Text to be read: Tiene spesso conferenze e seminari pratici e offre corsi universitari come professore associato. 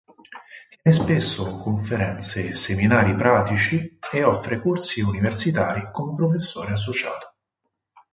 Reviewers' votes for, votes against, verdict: 2, 4, rejected